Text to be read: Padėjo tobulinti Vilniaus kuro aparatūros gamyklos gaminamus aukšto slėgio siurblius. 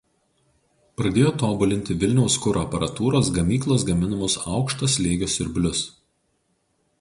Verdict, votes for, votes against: rejected, 0, 2